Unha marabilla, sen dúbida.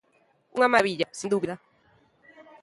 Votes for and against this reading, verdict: 0, 2, rejected